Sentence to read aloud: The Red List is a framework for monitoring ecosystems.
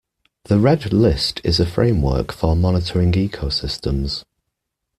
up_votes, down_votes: 2, 0